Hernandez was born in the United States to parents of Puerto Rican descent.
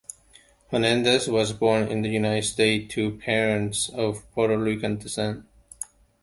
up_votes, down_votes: 1, 2